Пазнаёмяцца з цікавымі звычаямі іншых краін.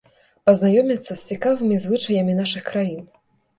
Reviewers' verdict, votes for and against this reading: rejected, 0, 2